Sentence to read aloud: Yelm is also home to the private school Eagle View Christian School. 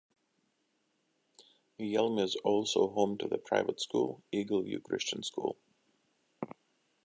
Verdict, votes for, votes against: accepted, 2, 0